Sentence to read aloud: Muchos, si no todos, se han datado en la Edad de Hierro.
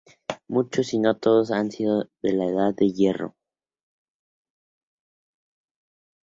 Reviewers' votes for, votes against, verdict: 2, 0, accepted